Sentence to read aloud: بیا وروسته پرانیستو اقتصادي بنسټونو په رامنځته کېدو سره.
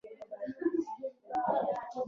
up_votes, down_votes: 1, 2